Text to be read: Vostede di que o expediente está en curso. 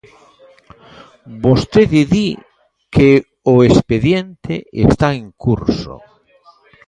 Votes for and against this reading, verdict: 1, 2, rejected